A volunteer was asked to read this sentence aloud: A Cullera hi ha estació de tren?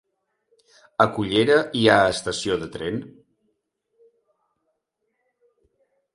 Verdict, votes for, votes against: accepted, 2, 0